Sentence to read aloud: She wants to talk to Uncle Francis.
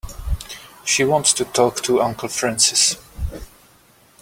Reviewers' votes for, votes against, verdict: 2, 0, accepted